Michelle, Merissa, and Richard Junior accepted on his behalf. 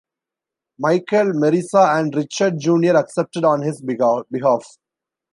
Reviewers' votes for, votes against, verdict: 0, 2, rejected